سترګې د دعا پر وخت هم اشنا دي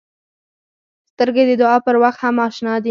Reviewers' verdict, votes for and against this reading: accepted, 4, 0